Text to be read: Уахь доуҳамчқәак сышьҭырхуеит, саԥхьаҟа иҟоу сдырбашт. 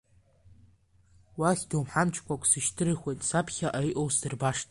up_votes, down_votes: 2, 0